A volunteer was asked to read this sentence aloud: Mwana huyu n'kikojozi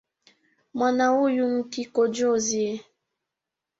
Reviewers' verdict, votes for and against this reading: accepted, 2, 1